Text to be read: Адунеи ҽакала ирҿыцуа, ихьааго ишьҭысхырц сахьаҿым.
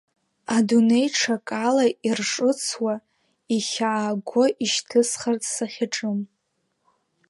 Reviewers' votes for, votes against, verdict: 1, 4, rejected